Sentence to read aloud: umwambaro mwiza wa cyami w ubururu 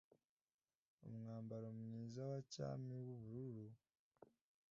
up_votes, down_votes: 2, 0